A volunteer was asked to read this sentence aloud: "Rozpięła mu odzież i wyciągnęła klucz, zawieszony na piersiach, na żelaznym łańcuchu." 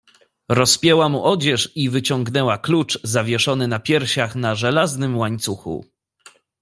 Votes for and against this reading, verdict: 2, 0, accepted